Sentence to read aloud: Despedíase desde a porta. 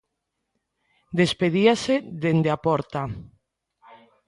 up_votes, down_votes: 1, 2